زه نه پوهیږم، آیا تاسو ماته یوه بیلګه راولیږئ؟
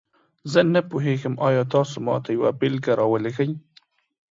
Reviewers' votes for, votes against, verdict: 2, 0, accepted